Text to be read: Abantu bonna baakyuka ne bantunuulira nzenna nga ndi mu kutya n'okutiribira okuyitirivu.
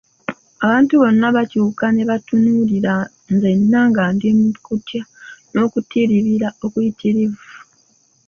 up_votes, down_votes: 1, 2